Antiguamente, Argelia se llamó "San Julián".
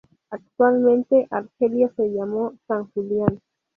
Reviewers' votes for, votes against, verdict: 0, 2, rejected